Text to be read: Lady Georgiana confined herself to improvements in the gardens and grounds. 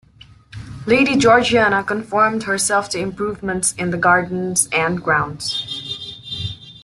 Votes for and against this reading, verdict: 1, 2, rejected